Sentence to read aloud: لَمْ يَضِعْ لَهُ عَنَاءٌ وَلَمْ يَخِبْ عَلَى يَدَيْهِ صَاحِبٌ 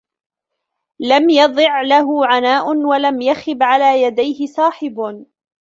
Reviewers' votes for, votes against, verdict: 0, 2, rejected